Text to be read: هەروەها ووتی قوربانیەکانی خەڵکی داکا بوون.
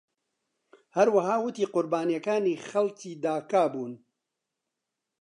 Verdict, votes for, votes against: accepted, 2, 0